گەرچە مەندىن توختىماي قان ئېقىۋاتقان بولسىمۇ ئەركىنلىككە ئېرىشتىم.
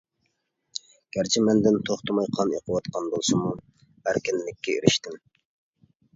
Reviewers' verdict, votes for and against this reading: accepted, 3, 0